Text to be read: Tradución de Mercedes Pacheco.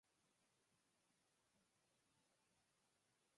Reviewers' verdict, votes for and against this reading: rejected, 1, 2